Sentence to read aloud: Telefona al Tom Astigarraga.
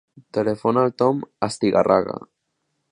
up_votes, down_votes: 2, 0